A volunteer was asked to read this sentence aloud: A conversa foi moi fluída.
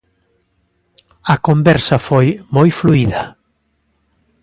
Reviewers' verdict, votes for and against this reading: accepted, 2, 0